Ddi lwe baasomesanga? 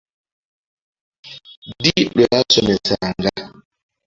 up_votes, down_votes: 2, 0